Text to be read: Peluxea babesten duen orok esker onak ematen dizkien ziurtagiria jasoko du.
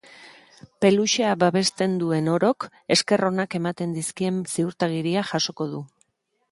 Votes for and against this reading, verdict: 4, 0, accepted